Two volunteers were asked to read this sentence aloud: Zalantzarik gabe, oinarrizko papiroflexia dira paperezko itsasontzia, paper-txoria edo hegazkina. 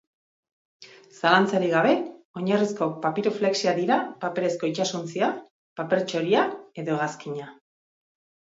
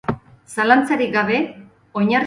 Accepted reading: first